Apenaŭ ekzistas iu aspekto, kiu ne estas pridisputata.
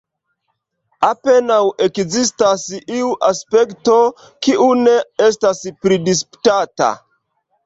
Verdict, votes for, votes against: rejected, 0, 2